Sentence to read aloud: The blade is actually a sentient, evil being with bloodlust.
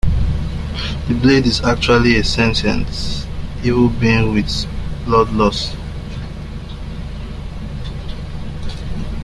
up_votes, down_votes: 0, 2